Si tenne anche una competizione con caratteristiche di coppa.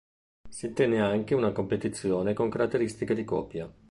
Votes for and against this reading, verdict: 0, 2, rejected